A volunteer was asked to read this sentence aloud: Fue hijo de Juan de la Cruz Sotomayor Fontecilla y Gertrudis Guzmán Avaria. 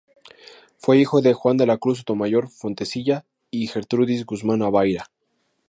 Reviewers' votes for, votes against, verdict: 0, 2, rejected